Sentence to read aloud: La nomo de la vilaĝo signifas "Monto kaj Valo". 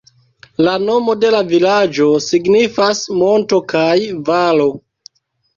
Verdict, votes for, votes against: rejected, 1, 2